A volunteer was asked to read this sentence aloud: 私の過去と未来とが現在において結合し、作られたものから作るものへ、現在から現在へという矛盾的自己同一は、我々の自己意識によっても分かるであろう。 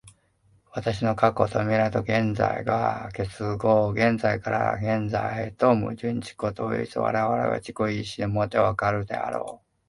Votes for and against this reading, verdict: 0, 2, rejected